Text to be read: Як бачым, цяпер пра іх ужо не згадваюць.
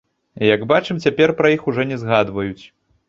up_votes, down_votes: 2, 1